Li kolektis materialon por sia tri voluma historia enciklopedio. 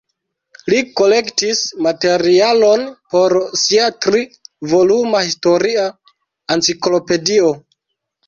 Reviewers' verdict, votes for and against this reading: rejected, 0, 2